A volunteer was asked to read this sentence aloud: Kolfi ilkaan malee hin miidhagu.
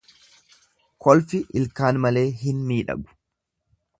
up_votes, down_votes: 2, 0